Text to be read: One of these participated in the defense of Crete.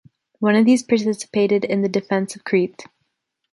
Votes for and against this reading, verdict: 1, 2, rejected